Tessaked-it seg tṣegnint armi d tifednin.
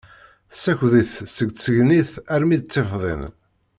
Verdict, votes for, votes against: rejected, 0, 2